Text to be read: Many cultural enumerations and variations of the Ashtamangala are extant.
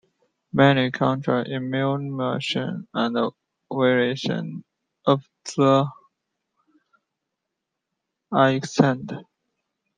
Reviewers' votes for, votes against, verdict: 0, 2, rejected